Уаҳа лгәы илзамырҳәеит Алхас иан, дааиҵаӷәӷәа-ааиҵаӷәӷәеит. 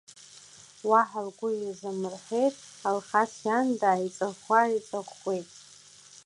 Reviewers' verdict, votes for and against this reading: rejected, 1, 2